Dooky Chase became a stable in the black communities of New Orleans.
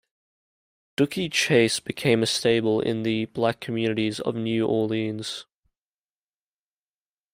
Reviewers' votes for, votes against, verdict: 2, 0, accepted